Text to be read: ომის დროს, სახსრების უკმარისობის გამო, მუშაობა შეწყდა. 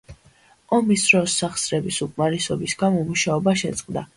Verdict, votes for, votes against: accepted, 2, 0